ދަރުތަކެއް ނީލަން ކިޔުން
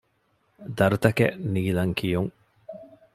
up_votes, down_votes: 2, 0